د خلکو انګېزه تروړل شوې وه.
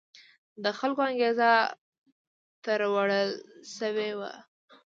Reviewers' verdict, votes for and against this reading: accepted, 2, 1